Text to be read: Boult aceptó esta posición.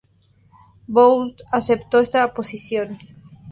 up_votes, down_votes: 2, 2